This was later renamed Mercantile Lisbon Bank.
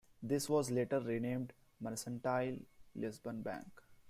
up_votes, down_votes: 1, 2